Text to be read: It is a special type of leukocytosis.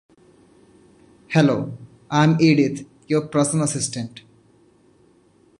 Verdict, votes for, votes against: rejected, 0, 2